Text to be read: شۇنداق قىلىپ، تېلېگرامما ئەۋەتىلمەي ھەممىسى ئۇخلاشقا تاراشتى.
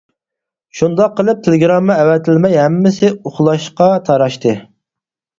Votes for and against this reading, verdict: 4, 0, accepted